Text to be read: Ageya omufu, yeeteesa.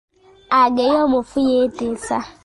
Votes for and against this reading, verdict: 0, 2, rejected